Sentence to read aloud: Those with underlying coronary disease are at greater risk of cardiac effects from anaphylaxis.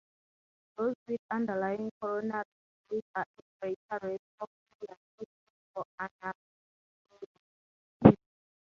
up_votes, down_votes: 0, 3